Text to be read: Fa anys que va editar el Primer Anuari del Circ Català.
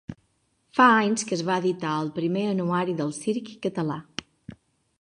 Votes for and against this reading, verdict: 0, 2, rejected